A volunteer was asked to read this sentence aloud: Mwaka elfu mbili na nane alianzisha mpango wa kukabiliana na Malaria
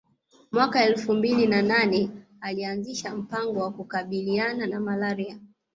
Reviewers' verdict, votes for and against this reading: accepted, 2, 0